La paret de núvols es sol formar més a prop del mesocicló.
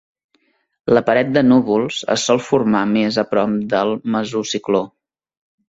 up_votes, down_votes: 2, 0